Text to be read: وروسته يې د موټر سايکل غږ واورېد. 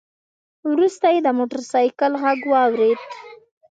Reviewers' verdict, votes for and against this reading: accepted, 2, 0